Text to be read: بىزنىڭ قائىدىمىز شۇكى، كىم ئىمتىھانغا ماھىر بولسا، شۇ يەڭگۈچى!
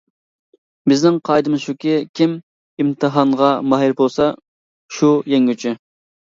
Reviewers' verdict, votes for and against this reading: accepted, 2, 0